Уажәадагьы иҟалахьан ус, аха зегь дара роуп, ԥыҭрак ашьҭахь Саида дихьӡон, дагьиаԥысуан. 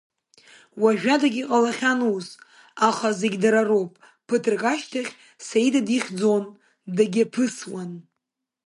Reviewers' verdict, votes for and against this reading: accepted, 2, 0